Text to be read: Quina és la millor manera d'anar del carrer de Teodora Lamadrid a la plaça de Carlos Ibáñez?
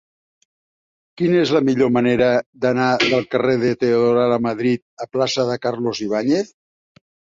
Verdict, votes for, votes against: rejected, 0, 2